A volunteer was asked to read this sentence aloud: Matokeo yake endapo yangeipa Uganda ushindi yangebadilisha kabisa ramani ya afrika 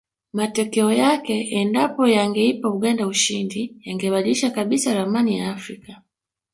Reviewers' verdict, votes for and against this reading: accepted, 3, 0